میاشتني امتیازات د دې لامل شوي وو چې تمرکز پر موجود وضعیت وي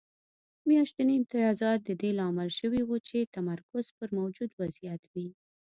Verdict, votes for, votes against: accepted, 2, 0